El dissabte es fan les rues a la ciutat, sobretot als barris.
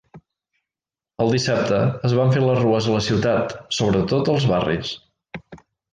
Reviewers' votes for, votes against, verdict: 1, 2, rejected